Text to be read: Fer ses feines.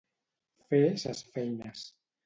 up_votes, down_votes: 2, 0